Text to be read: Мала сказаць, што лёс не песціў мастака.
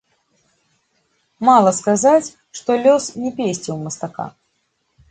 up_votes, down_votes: 2, 0